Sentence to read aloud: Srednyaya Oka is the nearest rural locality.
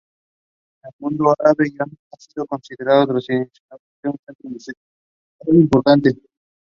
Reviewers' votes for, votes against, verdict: 0, 2, rejected